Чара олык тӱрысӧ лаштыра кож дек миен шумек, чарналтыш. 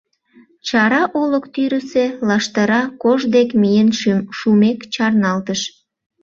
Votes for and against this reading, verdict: 1, 2, rejected